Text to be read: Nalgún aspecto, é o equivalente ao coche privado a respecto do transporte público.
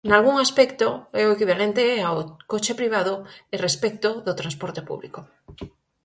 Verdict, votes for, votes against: rejected, 0, 4